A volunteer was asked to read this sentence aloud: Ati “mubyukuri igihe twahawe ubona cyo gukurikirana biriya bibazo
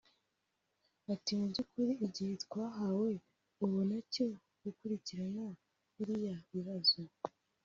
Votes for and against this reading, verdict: 0, 2, rejected